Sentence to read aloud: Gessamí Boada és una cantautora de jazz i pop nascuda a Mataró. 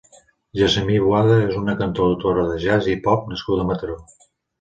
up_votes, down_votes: 2, 0